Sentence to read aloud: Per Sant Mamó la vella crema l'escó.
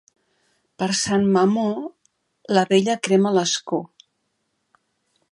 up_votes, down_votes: 2, 0